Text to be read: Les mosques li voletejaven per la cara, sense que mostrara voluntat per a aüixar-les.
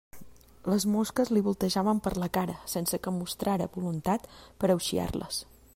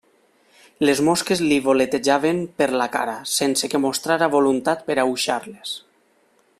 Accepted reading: second